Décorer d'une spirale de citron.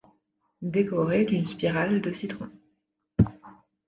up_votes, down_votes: 2, 0